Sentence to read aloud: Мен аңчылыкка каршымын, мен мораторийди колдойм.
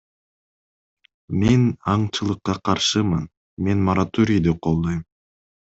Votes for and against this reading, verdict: 2, 0, accepted